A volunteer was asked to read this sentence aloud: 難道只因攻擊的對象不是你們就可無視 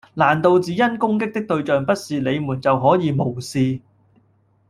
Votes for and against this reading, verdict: 0, 2, rejected